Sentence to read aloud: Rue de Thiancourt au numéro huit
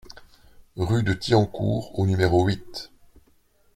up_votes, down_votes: 2, 1